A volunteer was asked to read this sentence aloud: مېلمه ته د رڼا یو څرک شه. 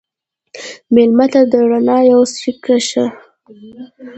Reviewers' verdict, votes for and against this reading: rejected, 1, 2